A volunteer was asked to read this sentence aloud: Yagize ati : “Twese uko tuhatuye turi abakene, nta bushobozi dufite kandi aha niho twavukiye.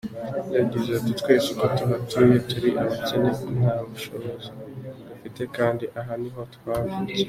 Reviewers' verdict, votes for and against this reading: accepted, 2, 0